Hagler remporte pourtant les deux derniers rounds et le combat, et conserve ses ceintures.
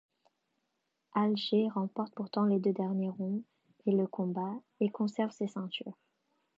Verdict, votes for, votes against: rejected, 0, 2